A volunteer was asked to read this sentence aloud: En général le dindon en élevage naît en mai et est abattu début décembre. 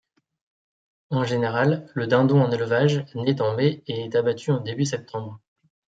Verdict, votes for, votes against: rejected, 1, 2